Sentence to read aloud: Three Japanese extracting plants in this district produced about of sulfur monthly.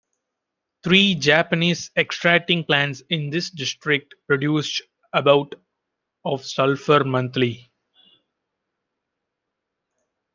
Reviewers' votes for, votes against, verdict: 2, 0, accepted